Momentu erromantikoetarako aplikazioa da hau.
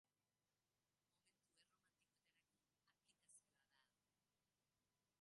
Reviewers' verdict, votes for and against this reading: rejected, 0, 5